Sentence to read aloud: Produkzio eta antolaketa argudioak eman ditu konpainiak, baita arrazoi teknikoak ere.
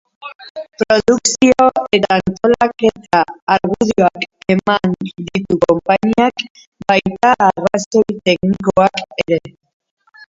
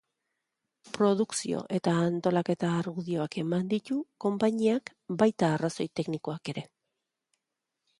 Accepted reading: second